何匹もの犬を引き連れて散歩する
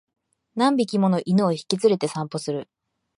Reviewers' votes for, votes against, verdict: 3, 0, accepted